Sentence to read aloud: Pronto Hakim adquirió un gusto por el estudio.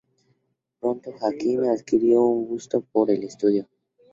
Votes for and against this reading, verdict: 2, 0, accepted